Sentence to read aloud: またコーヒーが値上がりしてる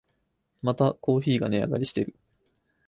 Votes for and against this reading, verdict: 4, 2, accepted